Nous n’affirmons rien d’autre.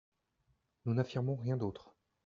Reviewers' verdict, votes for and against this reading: accepted, 2, 1